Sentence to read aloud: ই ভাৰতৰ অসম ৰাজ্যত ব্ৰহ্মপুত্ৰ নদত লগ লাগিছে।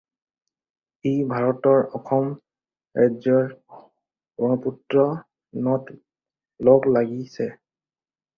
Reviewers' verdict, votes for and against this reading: rejected, 0, 4